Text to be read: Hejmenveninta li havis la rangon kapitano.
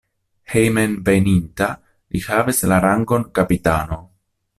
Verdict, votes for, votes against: accepted, 2, 0